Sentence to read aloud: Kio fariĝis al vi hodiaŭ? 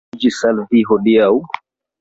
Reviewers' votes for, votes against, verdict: 1, 2, rejected